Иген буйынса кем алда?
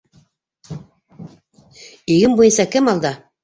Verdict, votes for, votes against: rejected, 1, 2